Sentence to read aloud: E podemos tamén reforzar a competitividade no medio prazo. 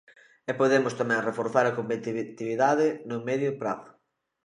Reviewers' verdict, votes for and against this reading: rejected, 0, 2